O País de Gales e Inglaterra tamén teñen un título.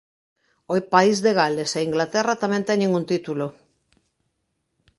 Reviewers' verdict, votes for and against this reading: rejected, 0, 2